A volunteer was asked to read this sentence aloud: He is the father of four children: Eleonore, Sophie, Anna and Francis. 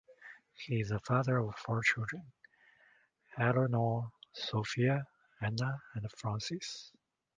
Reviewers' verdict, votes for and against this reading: rejected, 0, 2